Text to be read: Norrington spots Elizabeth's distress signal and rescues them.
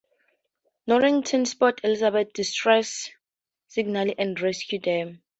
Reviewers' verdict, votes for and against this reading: rejected, 0, 4